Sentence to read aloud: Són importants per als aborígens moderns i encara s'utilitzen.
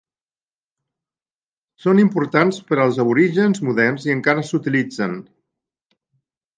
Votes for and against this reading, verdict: 3, 0, accepted